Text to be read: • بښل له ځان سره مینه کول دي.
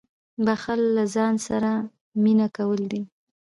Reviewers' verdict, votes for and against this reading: accepted, 3, 0